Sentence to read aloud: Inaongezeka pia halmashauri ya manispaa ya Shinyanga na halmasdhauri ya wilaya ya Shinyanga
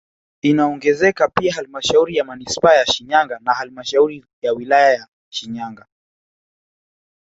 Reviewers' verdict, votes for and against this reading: rejected, 1, 2